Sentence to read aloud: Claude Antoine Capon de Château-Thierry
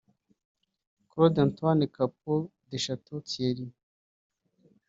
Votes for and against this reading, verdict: 0, 2, rejected